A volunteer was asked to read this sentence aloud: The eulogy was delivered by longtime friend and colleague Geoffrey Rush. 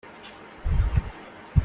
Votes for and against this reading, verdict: 0, 2, rejected